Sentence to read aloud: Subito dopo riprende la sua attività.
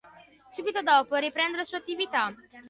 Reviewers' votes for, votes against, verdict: 1, 2, rejected